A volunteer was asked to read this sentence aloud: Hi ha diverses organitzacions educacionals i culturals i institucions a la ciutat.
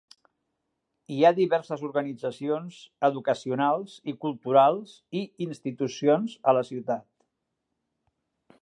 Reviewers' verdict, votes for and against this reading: accepted, 3, 0